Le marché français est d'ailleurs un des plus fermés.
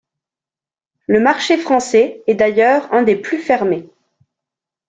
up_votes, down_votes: 2, 0